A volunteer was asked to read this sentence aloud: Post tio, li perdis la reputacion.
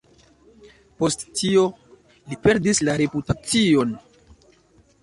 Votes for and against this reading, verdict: 3, 0, accepted